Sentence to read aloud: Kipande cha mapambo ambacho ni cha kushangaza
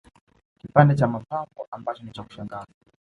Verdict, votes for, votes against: rejected, 1, 2